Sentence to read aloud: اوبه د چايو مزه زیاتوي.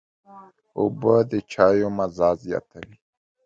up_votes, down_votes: 2, 0